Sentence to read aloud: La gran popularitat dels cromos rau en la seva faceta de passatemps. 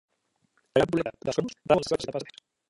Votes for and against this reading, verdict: 0, 2, rejected